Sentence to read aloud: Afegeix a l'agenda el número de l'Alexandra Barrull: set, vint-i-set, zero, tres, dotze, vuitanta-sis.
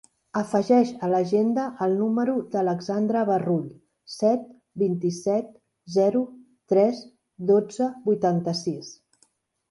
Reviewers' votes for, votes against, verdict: 0, 2, rejected